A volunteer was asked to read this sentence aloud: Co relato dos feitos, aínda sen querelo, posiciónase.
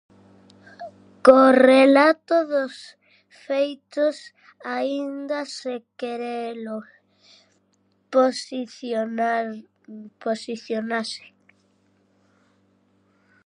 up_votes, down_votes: 0, 2